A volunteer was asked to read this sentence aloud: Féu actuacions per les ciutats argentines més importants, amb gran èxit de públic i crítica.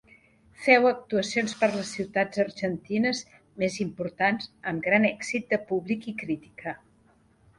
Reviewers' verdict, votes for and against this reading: accepted, 4, 0